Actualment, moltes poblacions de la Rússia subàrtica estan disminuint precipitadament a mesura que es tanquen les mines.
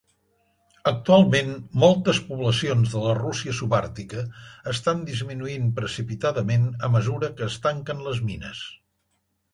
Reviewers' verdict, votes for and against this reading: accepted, 3, 0